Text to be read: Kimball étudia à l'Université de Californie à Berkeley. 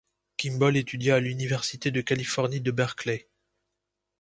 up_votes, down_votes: 0, 2